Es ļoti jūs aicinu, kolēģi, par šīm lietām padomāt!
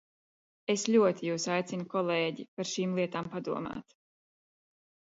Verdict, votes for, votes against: accepted, 2, 0